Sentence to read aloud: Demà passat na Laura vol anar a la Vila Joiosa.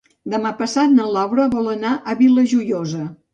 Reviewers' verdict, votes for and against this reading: rejected, 1, 2